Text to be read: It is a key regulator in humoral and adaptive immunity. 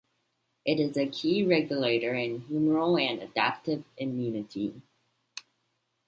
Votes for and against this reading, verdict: 2, 0, accepted